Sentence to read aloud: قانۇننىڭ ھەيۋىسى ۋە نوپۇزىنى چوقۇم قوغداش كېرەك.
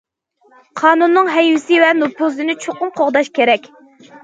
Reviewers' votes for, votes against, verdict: 2, 0, accepted